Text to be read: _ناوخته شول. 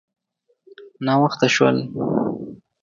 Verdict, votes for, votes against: accepted, 2, 0